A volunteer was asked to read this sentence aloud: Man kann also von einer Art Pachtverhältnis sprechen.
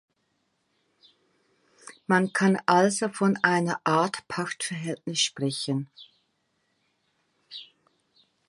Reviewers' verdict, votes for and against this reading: accepted, 2, 1